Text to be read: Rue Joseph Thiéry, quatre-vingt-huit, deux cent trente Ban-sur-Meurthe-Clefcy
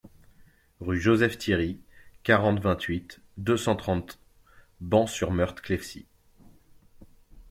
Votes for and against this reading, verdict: 0, 2, rejected